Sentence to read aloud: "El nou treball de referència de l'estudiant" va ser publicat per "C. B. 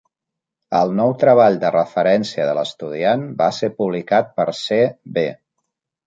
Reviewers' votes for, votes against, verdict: 3, 0, accepted